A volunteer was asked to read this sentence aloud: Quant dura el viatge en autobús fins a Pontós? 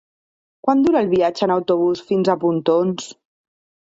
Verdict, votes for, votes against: rejected, 0, 2